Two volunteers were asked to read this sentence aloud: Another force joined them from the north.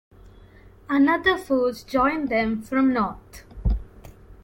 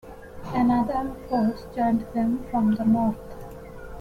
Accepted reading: second